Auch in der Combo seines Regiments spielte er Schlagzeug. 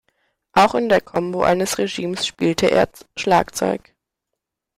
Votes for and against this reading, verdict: 0, 2, rejected